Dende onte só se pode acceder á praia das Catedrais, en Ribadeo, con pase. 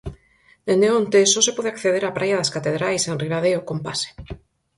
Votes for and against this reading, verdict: 4, 0, accepted